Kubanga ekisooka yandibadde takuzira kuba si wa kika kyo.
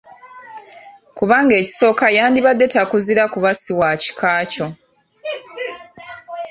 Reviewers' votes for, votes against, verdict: 2, 0, accepted